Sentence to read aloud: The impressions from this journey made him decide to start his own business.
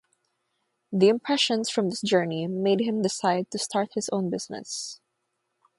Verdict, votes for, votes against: rejected, 3, 3